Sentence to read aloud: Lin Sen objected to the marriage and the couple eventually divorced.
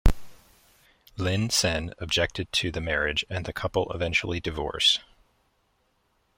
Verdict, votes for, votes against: accepted, 2, 1